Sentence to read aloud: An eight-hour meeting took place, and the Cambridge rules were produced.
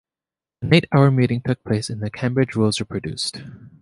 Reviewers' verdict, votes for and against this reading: accepted, 2, 0